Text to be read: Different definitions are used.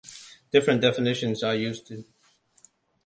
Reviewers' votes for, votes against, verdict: 2, 1, accepted